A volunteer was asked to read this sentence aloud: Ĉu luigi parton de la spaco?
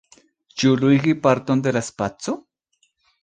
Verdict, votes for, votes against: accepted, 2, 0